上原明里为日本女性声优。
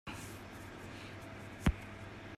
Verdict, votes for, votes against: rejected, 0, 2